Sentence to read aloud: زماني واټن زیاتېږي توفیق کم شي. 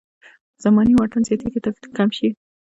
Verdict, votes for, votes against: rejected, 1, 2